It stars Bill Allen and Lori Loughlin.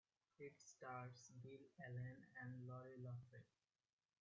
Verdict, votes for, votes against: rejected, 0, 2